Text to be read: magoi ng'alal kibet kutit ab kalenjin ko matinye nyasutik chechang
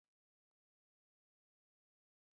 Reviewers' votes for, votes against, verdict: 0, 2, rejected